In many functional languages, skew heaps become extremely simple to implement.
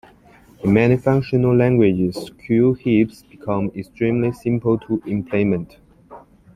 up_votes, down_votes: 1, 2